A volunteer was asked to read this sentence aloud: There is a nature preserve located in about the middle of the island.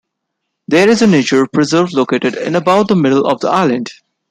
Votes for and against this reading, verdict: 2, 0, accepted